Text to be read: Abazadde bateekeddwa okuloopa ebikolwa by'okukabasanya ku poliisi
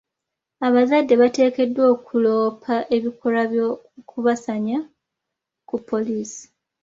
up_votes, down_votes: 0, 2